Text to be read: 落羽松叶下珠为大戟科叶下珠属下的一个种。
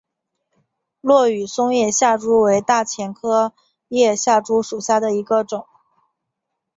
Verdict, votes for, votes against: accepted, 3, 0